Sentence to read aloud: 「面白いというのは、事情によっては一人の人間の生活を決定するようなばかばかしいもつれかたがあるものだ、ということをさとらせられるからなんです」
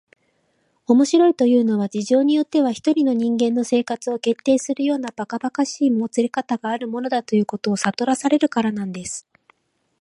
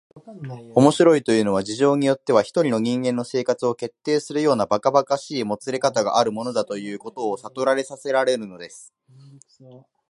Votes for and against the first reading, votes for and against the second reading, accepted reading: 2, 1, 1, 2, first